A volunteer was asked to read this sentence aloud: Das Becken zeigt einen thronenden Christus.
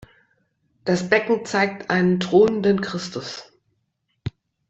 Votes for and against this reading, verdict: 0, 2, rejected